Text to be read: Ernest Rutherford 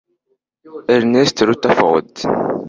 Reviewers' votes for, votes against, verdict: 1, 2, rejected